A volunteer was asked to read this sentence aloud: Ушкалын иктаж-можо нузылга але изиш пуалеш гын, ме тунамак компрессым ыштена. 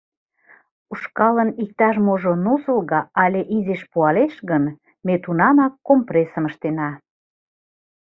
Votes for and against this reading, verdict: 2, 0, accepted